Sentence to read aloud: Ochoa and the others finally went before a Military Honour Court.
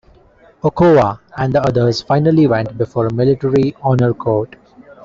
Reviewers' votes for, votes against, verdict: 1, 2, rejected